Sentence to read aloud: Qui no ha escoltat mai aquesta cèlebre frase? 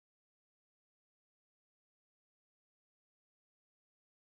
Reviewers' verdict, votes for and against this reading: rejected, 0, 2